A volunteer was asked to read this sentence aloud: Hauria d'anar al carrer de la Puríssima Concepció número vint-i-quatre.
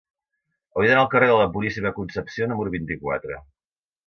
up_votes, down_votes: 2, 0